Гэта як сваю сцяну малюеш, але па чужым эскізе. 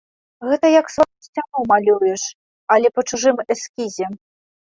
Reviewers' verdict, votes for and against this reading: rejected, 1, 2